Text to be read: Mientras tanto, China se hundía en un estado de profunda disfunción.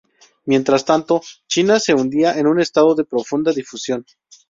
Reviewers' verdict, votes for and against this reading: rejected, 2, 2